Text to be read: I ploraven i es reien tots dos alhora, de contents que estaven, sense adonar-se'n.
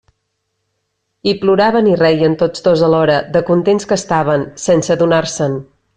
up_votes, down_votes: 0, 2